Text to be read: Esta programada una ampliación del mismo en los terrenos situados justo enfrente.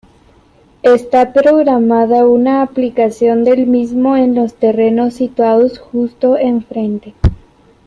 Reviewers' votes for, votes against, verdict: 1, 2, rejected